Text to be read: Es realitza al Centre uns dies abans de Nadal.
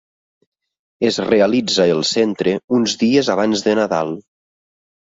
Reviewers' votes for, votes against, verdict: 1, 2, rejected